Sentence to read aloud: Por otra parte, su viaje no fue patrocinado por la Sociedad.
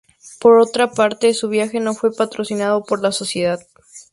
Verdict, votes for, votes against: accepted, 6, 0